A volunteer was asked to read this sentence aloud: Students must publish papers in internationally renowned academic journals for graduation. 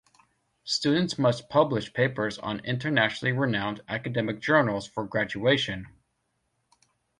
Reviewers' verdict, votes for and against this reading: rejected, 1, 2